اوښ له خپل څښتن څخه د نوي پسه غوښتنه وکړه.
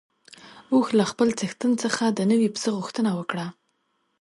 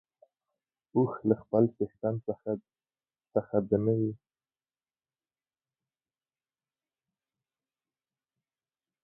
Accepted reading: first